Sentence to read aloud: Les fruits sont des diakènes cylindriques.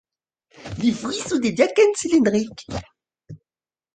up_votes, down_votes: 0, 2